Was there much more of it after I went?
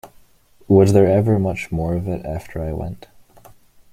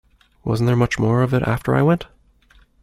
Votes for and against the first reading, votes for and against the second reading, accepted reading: 0, 2, 2, 1, second